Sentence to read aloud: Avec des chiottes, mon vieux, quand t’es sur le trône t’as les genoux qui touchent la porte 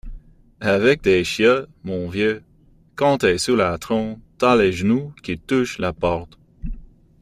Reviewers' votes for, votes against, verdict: 1, 2, rejected